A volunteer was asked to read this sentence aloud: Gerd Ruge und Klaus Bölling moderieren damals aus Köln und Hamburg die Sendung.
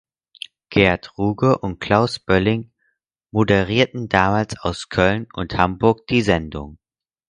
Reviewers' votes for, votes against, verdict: 0, 4, rejected